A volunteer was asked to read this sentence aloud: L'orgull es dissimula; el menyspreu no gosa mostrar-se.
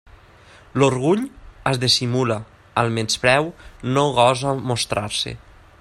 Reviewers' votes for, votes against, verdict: 2, 0, accepted